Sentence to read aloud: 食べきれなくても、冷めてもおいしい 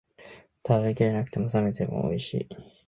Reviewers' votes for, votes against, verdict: 1, 3, rejected